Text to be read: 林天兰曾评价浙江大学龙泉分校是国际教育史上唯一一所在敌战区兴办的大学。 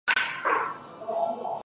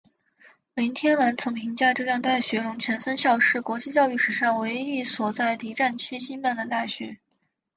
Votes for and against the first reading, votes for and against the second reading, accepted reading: 0, 4, 2, 0, second